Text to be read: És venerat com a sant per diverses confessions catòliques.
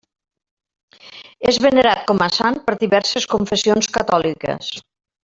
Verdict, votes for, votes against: accepted, 3, 0